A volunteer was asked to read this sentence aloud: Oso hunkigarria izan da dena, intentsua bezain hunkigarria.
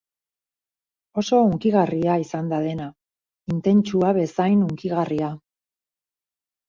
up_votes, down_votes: 2, 2